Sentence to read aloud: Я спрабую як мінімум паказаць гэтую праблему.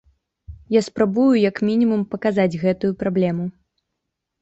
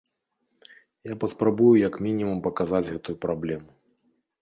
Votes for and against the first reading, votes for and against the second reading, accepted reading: 2, 0, 1, 2, first